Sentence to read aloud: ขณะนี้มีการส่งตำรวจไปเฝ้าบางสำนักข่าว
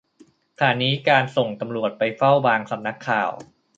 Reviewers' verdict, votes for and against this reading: rejected, 0, 2